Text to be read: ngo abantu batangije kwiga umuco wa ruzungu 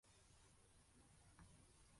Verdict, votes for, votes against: rejected, 0, 2